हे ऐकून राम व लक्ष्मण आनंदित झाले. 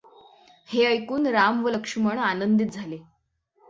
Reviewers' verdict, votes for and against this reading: accepted, 6, 0